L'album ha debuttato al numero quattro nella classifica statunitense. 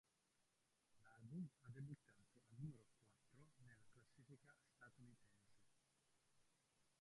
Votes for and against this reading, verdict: 0, 3, rejected